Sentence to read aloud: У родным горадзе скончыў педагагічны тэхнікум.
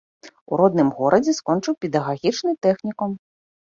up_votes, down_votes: 2, 0